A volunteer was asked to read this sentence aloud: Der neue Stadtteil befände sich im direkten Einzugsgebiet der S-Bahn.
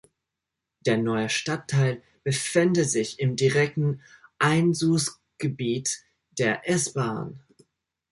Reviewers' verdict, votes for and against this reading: accepted, 2, 0